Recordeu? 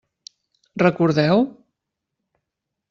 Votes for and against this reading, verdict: 3, 0, accepted